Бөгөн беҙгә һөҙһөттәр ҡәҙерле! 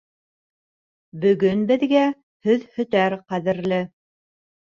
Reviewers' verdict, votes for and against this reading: rejected, 1, 2